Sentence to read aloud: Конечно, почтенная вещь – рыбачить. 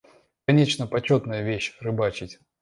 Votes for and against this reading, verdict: 1, 2, rejected